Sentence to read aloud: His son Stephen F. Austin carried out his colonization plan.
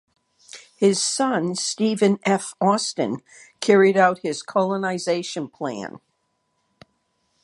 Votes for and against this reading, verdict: 2, 0, accepted